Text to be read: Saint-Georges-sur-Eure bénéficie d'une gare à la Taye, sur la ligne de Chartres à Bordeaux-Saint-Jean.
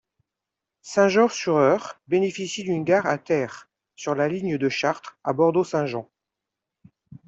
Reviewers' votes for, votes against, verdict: 1, 2, rejected